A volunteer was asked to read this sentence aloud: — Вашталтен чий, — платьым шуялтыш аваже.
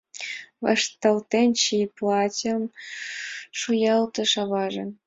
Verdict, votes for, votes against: accepted, 2, 0